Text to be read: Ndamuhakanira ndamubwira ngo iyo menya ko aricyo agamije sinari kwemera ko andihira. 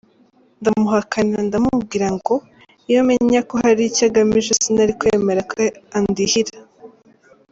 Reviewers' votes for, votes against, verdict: 2, 0, accepted